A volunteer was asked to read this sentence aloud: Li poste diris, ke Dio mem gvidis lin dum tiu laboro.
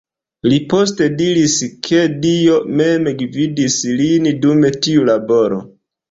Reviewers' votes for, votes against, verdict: 2, 0, accepted